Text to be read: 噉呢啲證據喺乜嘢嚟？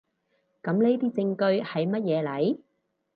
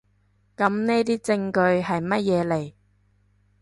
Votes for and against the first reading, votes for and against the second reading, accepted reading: 2, 0, 0, 2, first